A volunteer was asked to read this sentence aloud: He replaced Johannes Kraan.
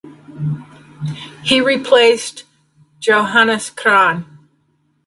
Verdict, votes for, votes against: accepted, 2, 0